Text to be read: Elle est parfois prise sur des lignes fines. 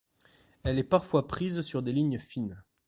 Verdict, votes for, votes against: rejected, 1, 2